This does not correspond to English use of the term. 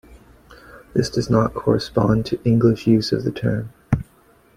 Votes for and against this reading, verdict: 2, 0, accepted